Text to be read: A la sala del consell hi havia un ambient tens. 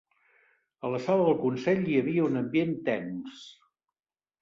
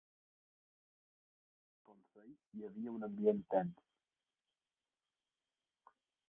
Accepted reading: first